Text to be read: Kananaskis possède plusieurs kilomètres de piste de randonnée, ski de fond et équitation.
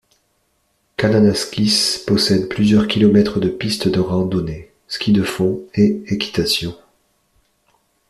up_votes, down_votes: 2, 0